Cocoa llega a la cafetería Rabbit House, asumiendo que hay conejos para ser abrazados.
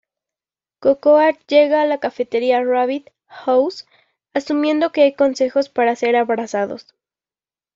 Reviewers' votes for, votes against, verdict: 0, 2, rejected